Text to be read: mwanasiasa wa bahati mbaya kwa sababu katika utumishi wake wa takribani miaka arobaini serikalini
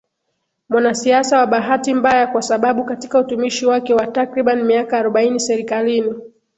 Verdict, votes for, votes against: accepted, 2, 0